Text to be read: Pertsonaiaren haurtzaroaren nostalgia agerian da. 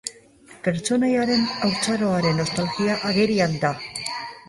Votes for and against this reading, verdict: 2, 4, rejected